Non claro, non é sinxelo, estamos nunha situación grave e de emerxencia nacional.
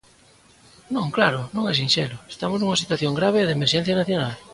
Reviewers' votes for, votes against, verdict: 2, 0, accepted